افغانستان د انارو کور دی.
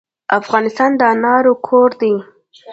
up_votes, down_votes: 2, 1